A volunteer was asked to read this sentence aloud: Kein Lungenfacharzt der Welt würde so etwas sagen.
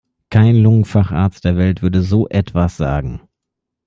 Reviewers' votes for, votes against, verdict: 2, 0, accepted